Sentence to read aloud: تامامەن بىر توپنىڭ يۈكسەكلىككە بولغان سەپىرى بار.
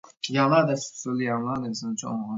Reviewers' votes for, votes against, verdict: 0, 2, rejected